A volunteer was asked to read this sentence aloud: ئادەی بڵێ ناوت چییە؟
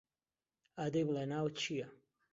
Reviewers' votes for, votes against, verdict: 2, 0, accepted